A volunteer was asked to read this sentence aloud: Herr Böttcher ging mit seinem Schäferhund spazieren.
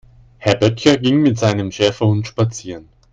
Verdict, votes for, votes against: accepted, 2, 0